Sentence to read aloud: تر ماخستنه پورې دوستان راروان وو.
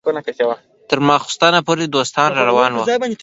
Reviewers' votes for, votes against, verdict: 2, 1, accepted